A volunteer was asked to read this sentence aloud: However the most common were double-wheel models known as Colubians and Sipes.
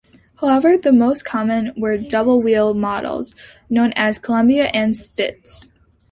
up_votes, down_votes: 1, 2